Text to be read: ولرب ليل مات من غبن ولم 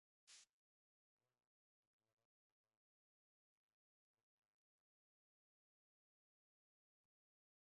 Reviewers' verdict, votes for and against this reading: rejected, 0, 2